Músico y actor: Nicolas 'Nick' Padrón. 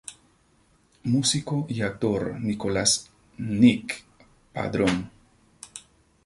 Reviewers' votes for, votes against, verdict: 2, 0, accepted